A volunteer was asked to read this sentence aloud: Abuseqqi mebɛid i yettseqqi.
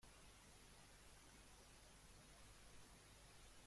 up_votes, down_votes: 0, 2